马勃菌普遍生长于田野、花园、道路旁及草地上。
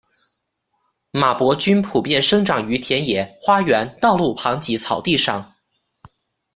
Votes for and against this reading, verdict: 2, 0, accepted